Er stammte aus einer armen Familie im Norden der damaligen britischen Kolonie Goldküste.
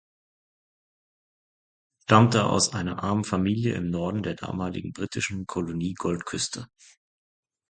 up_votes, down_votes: 1, 2